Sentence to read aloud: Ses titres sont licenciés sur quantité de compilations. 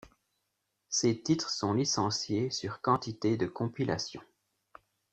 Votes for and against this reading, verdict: 1, 2, rejected